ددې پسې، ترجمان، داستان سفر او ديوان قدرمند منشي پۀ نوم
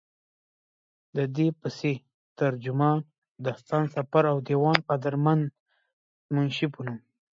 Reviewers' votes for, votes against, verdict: 2, 1, accepted